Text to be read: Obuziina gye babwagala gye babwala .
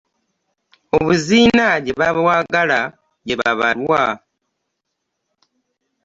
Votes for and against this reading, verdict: 1, 2, rejected